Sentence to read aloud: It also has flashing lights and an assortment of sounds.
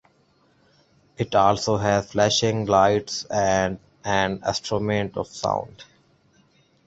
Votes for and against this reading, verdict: 0, 2, rejected